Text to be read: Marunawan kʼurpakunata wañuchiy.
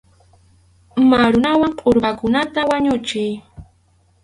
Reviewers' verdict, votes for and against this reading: rejected, 2, 2